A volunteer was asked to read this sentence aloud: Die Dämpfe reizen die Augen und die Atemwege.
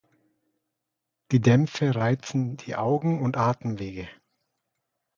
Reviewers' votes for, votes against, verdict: 1, 2, rejected